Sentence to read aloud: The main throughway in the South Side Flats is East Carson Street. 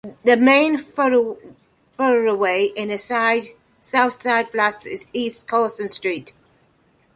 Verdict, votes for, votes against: rejected, 1, 2